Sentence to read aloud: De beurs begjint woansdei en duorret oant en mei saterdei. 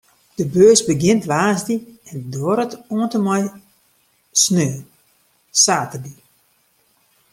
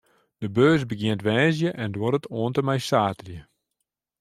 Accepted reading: second